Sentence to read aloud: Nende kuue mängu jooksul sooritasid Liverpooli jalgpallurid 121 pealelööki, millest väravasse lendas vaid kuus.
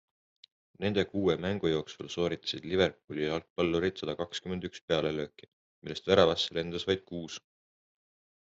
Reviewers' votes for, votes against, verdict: 0, 2, rejected